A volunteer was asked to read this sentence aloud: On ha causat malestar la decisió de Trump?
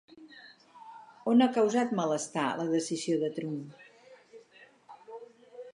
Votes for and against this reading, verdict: 4, 0, accepted